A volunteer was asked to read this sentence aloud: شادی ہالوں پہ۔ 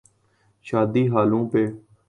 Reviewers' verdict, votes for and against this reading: accepted, 2, 0